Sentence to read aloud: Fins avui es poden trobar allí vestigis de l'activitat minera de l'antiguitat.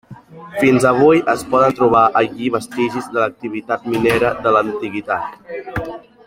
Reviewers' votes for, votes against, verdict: 3, 1, accepted